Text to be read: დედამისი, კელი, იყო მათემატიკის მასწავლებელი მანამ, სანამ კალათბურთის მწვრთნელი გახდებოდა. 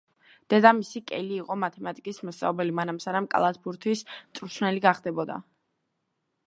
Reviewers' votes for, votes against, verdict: 2, 0, accepted